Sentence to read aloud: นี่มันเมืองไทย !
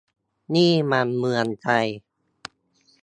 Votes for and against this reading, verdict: 3, 0, accepted